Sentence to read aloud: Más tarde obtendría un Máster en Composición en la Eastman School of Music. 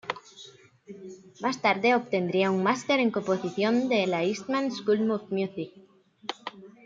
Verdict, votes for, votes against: rejected, 0, 2